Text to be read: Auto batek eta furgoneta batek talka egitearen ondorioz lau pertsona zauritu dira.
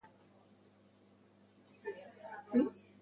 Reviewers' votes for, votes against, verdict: 0, 2, rejected